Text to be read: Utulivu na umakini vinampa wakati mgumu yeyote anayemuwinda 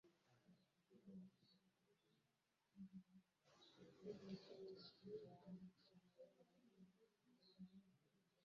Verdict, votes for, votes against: rejected, 0, 2